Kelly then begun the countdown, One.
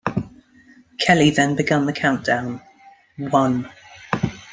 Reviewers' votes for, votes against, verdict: 2, 1, accepted